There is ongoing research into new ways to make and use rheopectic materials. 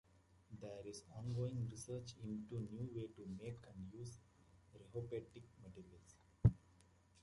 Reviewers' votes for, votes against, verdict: 1, 2, rejected